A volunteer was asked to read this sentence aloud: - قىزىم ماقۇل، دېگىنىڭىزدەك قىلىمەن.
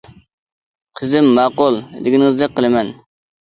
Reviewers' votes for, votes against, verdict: 2, 0, accepted